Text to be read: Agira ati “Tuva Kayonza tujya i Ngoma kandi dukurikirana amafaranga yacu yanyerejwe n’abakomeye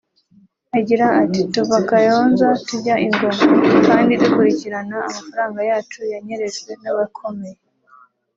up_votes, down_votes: 3, 1